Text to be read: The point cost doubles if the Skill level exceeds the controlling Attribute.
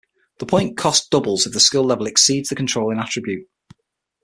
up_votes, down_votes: 6, 0